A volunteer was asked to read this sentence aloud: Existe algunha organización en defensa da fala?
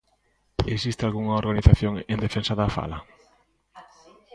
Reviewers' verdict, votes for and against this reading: accepted, 2, 0